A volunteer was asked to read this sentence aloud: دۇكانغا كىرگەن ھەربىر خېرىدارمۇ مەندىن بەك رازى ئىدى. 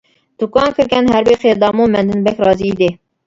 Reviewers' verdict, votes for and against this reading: rejected, 0, 2